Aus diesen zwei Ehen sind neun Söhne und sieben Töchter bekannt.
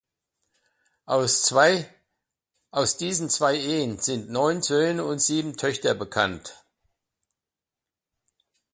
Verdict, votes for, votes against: rejected, 0, 2